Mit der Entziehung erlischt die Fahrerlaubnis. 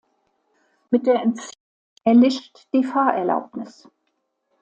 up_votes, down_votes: 0, 2